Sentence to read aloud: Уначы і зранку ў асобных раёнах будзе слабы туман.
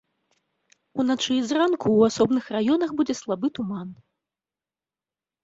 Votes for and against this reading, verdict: 2, 1, accepted